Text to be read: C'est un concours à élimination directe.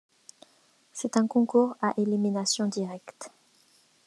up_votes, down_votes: 2, 0